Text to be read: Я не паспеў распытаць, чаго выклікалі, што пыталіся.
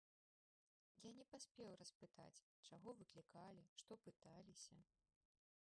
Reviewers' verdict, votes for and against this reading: rejected, 1, 2